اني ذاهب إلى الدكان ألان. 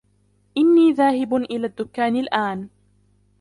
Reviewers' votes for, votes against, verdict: 1, 2, rejected